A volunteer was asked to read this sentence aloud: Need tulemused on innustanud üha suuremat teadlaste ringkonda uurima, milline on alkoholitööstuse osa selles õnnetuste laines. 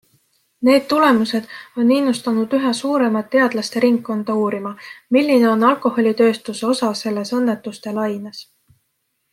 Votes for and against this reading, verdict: 2, 0, accepted